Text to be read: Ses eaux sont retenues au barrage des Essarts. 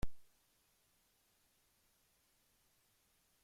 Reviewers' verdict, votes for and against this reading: rejected, 0, 2